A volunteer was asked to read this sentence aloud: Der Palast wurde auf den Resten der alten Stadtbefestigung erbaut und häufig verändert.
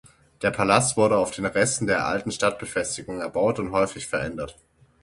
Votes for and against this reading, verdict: 6, 0, accepted